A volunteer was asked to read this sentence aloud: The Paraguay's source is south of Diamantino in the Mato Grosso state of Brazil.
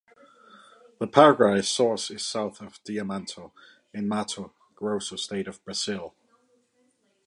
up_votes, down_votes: 2, 0